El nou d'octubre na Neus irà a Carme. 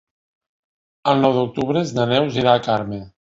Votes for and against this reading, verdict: 1, 2, rejected